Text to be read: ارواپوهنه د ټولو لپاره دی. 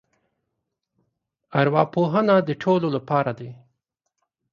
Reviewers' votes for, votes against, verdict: 0, 2, rejected